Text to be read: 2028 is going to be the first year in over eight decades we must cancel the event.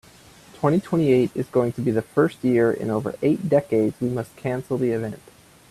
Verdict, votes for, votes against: rejected, 0, 2